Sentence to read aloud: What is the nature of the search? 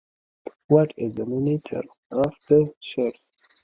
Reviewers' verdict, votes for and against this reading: rejected, 1, 2